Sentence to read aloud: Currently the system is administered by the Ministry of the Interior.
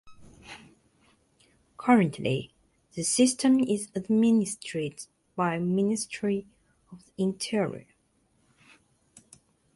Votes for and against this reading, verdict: 0, 2, rejected